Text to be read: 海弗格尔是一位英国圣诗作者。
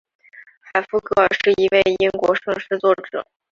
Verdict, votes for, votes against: rejected, 1, 2